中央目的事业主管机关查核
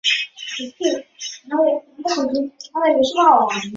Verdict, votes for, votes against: rejected, 0, 2